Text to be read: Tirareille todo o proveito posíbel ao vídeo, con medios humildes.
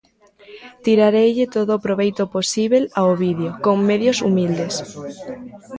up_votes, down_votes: 1, 2